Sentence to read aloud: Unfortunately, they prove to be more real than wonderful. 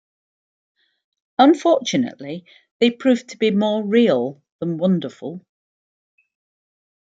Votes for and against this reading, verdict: 2, 0, accepted